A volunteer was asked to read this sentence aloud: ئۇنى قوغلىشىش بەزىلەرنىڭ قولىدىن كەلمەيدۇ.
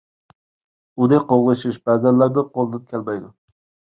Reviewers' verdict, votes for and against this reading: rejected, 1, 2